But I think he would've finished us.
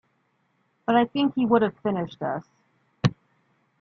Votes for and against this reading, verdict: 2, 0, accepted